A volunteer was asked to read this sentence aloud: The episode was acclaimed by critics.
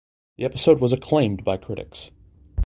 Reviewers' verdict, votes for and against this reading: accepted, 2, 0